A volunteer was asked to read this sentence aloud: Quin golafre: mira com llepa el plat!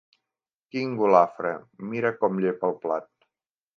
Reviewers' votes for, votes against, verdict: 2, 0, accepted